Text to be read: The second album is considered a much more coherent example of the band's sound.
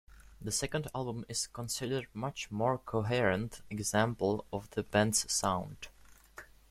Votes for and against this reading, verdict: 2, 0, accepted